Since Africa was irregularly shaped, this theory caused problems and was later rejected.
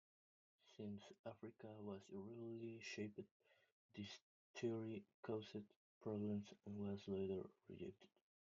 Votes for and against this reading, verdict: 1, 2, rejected